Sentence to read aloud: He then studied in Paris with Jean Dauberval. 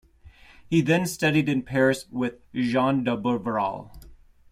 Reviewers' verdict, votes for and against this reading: rejected, 1, 2